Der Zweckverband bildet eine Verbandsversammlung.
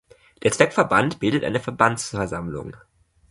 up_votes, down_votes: 3, 0